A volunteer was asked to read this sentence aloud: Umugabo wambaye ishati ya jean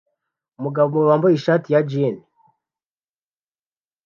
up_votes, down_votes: 2, 0